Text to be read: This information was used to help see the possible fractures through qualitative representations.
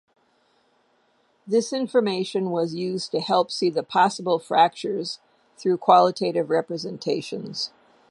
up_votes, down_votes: 2, 0